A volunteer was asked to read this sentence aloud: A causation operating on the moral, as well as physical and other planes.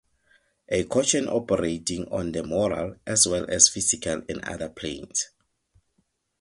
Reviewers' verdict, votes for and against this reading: rejected, 0, 4